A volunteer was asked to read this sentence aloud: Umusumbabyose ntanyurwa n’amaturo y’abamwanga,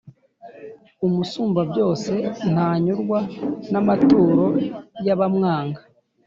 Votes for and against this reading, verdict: 1, 2, rejected